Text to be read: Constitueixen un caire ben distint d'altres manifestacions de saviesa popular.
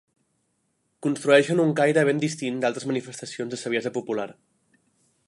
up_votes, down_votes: 0, 2